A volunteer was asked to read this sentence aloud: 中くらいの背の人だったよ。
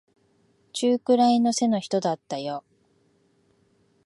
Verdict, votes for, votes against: rejected, 0, 2